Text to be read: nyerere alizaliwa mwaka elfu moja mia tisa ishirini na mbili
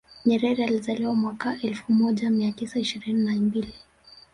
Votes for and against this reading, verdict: 1, 2, rejected